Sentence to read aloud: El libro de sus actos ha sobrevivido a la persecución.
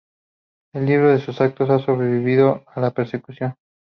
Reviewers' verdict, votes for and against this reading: accepted, 4, 0